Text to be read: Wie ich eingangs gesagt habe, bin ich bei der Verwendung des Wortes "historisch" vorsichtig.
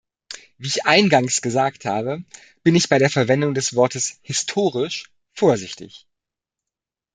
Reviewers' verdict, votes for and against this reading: accepted, 2, 0